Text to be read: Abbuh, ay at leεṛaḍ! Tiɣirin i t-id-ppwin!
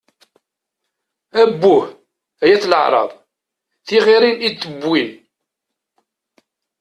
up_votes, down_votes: 0, 2